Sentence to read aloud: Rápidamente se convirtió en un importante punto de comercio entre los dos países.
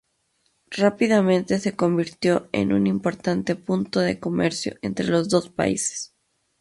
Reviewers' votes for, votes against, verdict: 2, 0, accepted